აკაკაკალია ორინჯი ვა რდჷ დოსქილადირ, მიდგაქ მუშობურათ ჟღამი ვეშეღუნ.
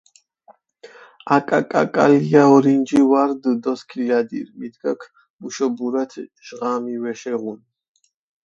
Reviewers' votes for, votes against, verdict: 4, 0, accepted